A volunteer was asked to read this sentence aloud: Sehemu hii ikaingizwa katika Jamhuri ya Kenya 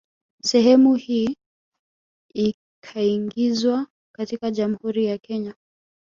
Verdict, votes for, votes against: rejected, 0, 2